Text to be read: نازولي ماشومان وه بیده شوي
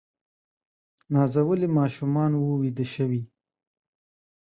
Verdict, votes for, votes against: accepted, 2, 0